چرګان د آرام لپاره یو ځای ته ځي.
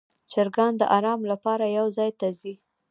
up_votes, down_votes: 3, 2